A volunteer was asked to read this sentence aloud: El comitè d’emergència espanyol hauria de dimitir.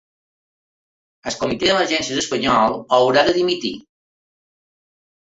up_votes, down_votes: 2, 4